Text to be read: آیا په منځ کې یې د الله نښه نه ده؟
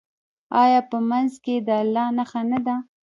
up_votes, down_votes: 0, 2